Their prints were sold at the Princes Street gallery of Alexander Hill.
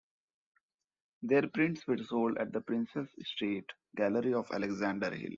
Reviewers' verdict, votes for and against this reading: accepted, 2, 0